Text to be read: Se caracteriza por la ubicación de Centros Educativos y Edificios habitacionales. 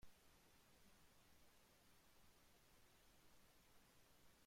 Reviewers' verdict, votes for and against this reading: rejected, 0, 2